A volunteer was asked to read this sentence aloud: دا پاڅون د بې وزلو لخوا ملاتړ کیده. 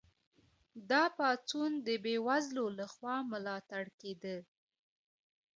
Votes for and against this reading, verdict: 1, 2, rejected